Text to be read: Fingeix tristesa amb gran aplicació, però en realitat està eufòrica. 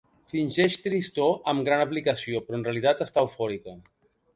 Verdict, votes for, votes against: rejected, 1, 2